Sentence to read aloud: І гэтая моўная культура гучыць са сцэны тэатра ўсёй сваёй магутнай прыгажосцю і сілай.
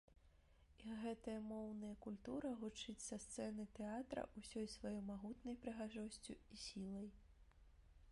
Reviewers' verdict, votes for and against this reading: rejected, 0, 2